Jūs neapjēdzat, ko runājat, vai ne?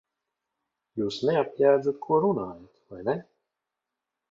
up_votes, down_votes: 2, 1